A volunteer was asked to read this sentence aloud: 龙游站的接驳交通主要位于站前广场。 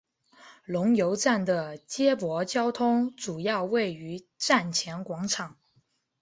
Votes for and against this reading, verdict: 3, 0, accepted